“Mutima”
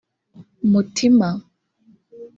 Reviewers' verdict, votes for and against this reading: rejected, 0, 2